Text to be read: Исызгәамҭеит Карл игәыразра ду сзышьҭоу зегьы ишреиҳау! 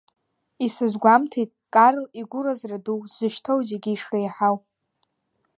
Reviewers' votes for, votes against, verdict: 2, 0, accepted